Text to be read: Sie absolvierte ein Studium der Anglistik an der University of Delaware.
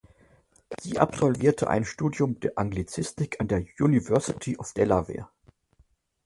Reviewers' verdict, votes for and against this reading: rejected, 0, 2